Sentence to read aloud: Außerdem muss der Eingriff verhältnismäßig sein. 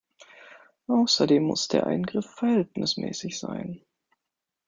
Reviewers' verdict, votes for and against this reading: accepted, 2, 1